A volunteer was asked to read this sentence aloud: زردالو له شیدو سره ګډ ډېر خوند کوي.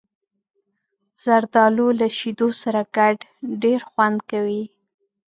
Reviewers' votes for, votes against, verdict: 2, 0, accepted